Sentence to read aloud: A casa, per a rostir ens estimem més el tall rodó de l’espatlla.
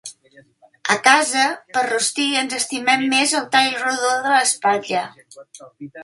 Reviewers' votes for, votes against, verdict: 1, 2, rejected